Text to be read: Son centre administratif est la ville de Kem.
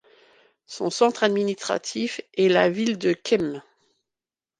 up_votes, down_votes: 2, 0